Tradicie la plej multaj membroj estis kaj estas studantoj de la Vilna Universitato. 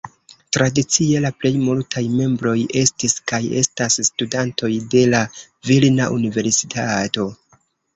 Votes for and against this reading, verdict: 2, 0, accepted